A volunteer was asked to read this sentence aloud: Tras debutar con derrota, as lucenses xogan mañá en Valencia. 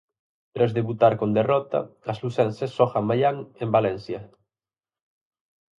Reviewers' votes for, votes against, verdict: 2, 4, rejected